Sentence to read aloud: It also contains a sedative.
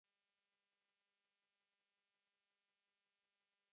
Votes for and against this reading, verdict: 0, 2, rejected